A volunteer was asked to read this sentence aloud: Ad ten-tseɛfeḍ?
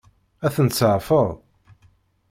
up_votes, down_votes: 2, 0